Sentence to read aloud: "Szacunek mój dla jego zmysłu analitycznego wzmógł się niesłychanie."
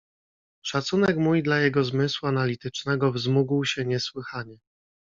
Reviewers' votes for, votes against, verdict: 2, 0, accepted